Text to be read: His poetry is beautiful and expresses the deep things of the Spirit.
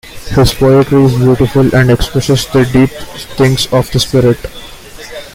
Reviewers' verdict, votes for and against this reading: accepted, 2, 1